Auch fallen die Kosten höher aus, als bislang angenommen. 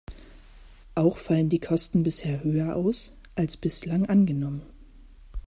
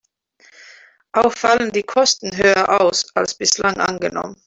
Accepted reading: second